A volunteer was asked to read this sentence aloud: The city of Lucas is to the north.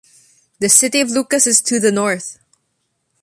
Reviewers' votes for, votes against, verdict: 2, 0, accepted